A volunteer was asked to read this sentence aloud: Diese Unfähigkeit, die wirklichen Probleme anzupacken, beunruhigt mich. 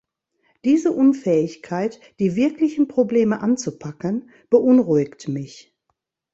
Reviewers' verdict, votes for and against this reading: accepted, 3, 0